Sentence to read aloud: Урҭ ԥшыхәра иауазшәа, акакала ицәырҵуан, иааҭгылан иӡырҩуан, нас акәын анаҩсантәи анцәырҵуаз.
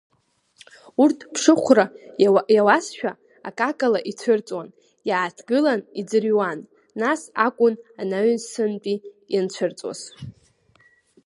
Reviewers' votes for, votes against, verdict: 1, 2, rejected